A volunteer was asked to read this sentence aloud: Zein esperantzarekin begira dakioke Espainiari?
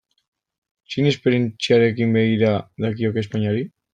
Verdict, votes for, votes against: rejected, 0, 2